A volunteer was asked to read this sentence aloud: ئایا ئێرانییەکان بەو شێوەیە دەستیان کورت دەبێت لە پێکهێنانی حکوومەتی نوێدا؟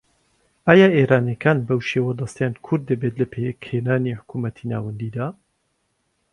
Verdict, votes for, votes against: rejected, 1, 2